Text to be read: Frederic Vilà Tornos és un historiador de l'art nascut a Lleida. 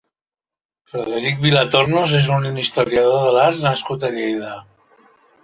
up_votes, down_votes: 0, 2